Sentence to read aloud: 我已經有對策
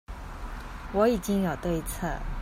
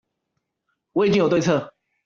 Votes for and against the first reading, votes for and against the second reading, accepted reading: 2, 0, 1, 2, first